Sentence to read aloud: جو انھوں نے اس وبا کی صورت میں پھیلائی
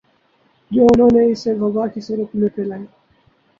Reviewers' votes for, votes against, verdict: 0, 2, rejected